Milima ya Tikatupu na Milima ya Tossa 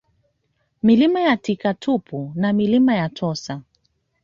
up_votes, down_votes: 2, 1